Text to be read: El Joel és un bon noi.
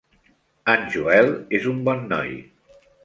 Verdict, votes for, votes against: accepted, 2, 0